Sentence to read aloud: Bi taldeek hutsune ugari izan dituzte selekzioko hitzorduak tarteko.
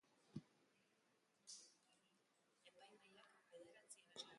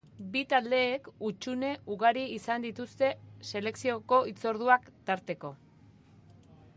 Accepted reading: second